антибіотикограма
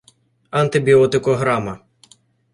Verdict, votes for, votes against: accepted, 2, 0